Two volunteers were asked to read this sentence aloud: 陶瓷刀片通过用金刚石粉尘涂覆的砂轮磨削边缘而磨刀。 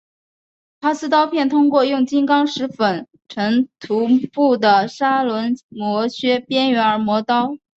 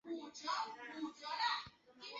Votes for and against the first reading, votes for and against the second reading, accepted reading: 4, 1, 0, 3, first